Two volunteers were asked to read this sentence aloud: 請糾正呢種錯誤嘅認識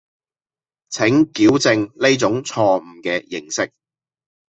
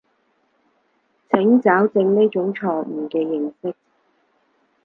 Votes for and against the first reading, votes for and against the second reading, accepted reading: 0, 2, 4, 0, second